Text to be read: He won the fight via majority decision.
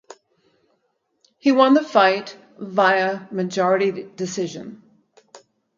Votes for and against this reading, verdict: 4, 0, accepted